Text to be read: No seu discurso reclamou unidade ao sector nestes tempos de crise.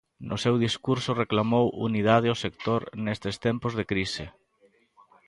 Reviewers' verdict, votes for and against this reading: rejected, 1, 2